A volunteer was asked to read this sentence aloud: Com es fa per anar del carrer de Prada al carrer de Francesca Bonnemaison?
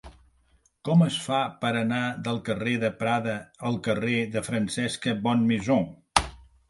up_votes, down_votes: 2, 0